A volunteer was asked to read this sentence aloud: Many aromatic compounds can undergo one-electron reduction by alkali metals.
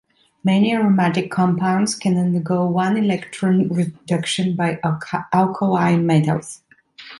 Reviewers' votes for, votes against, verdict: 1, 2, rejected